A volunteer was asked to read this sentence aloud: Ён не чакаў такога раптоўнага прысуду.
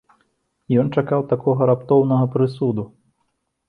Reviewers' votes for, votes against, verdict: 0, 2, rejected